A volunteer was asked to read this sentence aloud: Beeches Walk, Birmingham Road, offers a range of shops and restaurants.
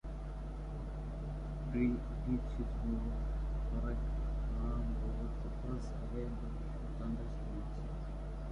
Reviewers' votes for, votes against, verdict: 0, 2, rejected